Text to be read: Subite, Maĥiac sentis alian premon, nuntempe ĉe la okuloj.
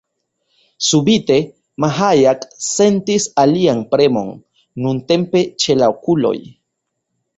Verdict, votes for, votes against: accepted, 2, 1